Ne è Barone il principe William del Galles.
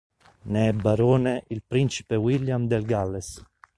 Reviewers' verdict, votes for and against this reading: accepted, 3, 0